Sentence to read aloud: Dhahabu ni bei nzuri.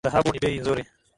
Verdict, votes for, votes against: accepted, 14, 5